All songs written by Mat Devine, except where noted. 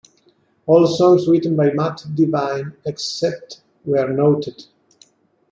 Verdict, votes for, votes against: accepted, 2, 0